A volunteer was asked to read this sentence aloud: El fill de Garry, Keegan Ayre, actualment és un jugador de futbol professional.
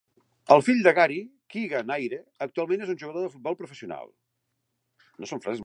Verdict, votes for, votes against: rejected, 0, 3